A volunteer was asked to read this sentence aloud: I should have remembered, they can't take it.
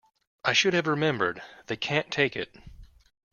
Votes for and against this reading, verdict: 2, 0, accepted